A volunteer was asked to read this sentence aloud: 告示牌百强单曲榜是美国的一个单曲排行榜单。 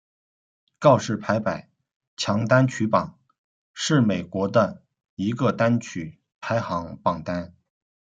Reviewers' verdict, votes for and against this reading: accepted, 2, 1